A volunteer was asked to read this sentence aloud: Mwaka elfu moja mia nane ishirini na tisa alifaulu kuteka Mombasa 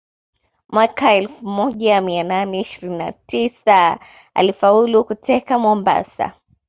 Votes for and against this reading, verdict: 2, 0, accepted